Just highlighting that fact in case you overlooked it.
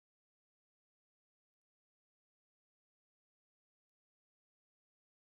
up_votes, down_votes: 0, 3